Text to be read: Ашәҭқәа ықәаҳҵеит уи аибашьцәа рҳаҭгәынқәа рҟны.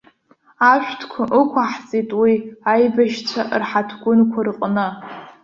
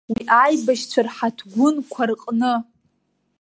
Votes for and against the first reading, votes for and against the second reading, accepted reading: 2, 0, 0, 2, first